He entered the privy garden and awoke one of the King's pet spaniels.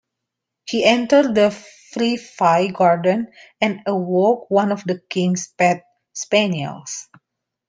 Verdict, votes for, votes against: rejected, 0, 2